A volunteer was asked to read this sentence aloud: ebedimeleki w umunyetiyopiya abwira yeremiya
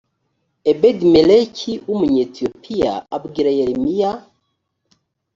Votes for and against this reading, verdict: 2, 0, accepted